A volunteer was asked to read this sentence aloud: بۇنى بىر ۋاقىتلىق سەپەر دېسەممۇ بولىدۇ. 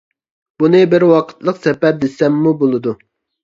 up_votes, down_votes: 2, 0